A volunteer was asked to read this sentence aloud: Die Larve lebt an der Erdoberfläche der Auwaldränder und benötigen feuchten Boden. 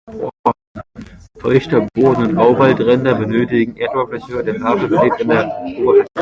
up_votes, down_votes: 0, 2